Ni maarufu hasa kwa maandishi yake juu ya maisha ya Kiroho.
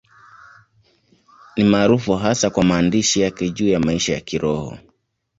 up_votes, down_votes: 2, 1